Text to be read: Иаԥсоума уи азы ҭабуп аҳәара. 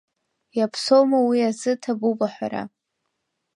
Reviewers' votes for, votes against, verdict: 2, 0, accepted